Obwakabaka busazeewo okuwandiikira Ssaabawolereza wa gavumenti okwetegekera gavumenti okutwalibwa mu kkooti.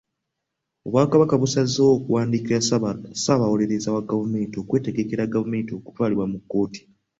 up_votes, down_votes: 2, 1